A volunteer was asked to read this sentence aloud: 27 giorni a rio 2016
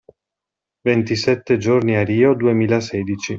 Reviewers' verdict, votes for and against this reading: rejected, 0, 2